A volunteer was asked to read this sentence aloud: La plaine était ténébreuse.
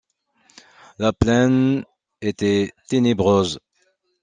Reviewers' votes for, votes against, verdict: 2, 0, accepted